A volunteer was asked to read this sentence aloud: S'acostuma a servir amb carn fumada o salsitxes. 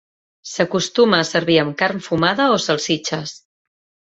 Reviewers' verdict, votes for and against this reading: accepted, 2, 0